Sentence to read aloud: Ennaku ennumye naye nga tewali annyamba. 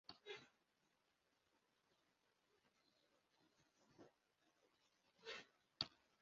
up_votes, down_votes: 1, 2